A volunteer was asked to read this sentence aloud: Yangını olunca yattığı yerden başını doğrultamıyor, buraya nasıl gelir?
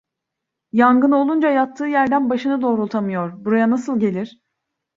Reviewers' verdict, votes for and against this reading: accepted, 2, 0